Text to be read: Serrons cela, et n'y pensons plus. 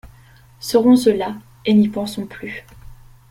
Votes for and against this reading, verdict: 2, 0, accepted